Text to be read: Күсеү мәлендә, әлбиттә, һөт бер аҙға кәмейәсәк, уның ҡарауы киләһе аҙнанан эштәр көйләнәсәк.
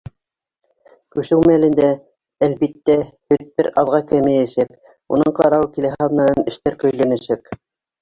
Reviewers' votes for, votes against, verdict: 2, 0, accepted